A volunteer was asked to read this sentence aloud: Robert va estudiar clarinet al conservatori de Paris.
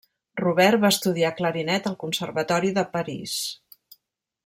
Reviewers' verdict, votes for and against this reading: accepted, 3, 0